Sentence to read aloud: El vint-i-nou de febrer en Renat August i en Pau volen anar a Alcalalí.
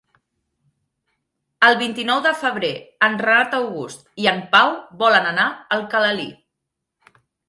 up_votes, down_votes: 2, 0